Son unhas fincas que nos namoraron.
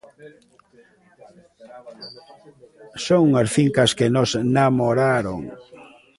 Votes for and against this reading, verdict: 1, 2, rejected